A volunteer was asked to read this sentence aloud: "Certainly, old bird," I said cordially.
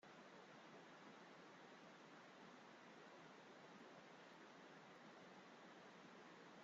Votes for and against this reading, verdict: 0, 2, rejected